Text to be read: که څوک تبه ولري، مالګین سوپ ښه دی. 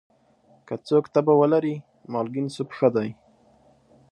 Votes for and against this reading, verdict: 3, 0, accepted